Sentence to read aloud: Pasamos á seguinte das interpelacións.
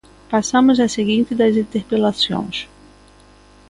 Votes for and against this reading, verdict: 2, 1, accepted